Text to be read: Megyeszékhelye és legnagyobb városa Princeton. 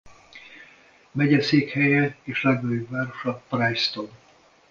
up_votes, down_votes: 1, 2